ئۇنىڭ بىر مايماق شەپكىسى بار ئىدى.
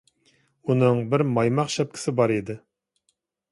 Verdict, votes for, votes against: accepted, 2, 0